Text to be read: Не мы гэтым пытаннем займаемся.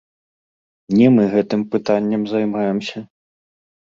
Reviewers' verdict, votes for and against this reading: rejected, 1, 2